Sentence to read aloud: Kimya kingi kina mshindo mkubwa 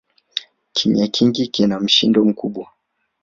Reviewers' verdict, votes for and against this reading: rejected, 0, 2